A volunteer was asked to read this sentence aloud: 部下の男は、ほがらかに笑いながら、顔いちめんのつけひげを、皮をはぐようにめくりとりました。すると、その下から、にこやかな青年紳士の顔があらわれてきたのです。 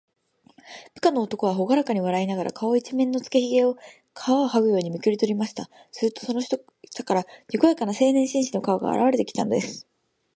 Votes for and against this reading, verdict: 2, 0, accepted